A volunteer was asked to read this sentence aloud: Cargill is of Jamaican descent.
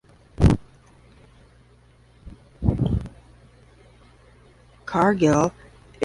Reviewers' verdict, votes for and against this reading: rejected, 0, 10